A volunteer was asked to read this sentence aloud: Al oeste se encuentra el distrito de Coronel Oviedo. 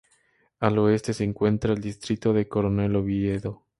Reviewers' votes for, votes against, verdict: 2, 0, accepted